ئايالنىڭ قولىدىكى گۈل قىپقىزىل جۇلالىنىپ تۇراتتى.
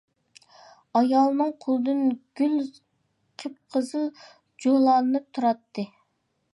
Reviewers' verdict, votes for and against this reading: rejected, 0, 2